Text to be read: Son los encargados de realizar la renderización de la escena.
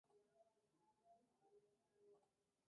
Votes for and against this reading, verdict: 0, 2, rejected